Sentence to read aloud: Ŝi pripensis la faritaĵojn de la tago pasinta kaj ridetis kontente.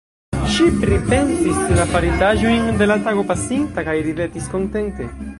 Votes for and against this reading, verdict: 1, 2, rejected